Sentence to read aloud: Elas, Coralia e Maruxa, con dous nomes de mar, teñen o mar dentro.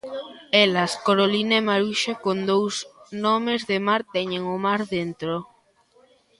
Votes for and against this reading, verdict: 0, 2, rejected